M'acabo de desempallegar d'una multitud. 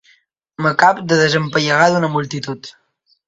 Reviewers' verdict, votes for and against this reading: accepted, 2, 1